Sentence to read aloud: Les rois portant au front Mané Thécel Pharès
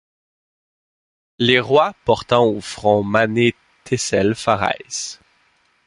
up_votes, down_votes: 2, 0